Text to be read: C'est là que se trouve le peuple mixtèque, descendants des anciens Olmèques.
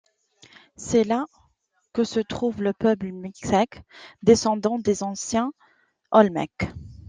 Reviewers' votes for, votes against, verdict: 2, 0, accepted